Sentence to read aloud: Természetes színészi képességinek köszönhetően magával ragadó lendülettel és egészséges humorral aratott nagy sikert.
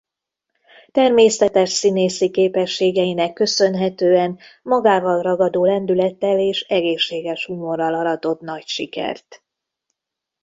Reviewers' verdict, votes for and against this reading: rejected, 1, 2